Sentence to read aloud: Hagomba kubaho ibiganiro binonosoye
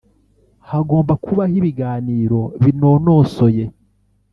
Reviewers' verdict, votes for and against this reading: rejected, 1, 2